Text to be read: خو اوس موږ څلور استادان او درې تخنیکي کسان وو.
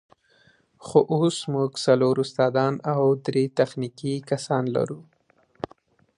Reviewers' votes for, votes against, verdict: 1, 2, rejected